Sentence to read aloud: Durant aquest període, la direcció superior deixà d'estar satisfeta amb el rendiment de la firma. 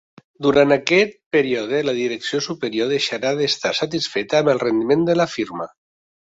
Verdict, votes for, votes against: rejected, 0, 2